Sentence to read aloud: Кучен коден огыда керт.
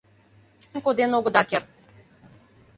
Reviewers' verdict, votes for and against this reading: rejected, 0, 2